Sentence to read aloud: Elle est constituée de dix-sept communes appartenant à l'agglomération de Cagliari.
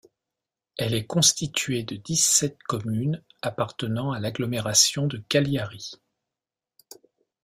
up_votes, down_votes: 0, 2